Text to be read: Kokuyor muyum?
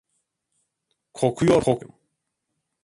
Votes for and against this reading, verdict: 0, 2, rejected